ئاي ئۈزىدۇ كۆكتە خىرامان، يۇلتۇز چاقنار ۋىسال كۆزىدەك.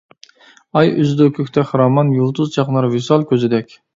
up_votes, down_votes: 2, 0